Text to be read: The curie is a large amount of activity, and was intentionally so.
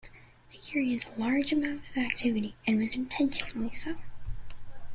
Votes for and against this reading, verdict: 2, 0, accepted